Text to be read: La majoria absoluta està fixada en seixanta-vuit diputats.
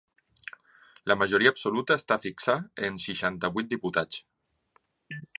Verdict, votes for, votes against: rejected, 1, 2